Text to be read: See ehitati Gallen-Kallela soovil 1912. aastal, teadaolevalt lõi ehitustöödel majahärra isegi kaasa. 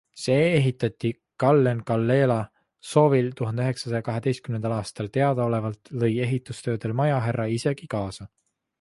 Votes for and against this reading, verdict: 0, 2, rejected